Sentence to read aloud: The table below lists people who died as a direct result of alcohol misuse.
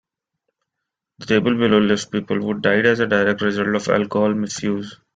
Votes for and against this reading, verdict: 1, 2, rejected